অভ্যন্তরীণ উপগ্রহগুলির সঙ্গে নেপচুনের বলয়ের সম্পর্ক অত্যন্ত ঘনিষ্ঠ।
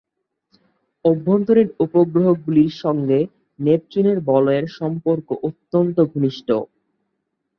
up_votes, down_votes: 0, 2